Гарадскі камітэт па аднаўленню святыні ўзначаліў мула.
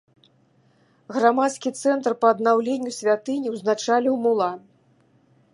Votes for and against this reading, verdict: 0, 2, rejected